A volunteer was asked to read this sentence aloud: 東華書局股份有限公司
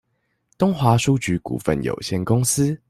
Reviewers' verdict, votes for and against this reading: accepted, 2, 0